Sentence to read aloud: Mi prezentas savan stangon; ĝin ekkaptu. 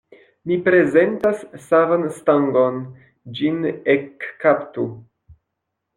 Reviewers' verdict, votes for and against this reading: accepted, 2, 0